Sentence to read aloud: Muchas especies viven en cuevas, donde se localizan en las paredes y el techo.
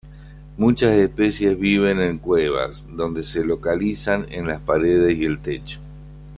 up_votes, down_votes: 2, 0